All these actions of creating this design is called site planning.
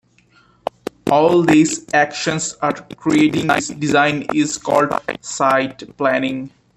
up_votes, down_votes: 0, 2